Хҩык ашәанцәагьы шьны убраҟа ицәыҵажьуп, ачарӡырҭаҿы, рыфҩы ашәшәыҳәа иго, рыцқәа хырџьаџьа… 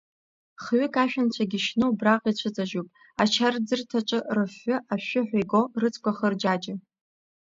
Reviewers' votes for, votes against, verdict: 0, 2, rejected